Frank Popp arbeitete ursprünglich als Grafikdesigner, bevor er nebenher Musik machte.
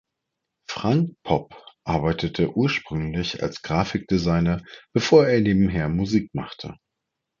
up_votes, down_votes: 2, 0